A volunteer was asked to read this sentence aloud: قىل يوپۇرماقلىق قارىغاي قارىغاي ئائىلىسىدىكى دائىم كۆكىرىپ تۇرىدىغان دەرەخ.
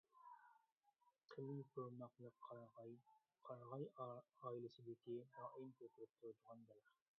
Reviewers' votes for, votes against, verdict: 0, 2, rejected